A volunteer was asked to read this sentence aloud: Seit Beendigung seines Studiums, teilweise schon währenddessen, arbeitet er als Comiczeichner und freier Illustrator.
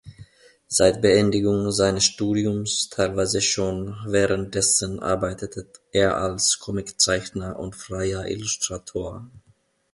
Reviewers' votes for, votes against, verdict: 2, 0, accepted